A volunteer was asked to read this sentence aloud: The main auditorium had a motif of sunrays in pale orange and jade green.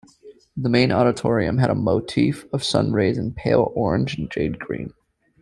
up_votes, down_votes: 2, 0